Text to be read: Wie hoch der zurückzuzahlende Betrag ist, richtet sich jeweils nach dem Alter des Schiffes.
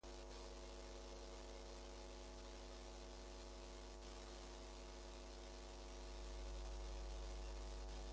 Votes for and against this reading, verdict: 0, 2, rejected